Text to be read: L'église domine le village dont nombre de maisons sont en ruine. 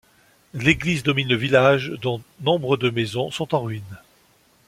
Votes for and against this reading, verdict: 2, 0, accepted